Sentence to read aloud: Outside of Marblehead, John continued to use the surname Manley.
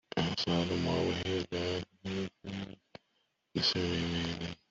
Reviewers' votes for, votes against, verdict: 1, 2, rejected